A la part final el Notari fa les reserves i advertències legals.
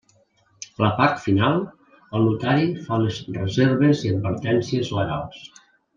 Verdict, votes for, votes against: rejected, 1, 2